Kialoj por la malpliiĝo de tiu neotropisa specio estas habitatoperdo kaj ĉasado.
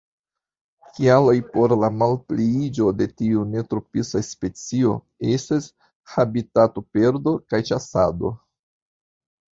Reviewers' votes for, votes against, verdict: 2, 0, accepted